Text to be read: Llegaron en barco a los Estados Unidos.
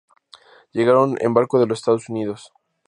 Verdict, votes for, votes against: rejected, 0, 2